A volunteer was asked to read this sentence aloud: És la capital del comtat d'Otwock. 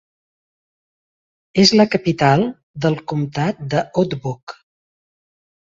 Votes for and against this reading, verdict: 1, 2, rejected